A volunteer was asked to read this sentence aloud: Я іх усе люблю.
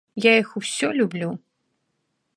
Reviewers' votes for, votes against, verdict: 1, 2, rejected